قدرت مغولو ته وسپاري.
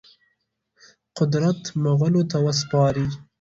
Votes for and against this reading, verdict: 2, 0, accepted